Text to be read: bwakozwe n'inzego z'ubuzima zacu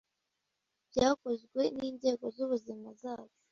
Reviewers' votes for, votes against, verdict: 3, 2, accepted